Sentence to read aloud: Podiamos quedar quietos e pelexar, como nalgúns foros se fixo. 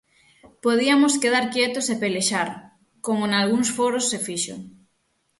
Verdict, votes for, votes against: rejected, 0, 6